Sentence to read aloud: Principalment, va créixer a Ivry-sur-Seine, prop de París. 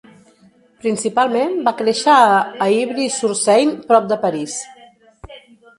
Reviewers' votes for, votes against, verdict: 0, 2, rejected